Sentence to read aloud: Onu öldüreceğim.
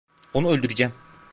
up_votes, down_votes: 0, 2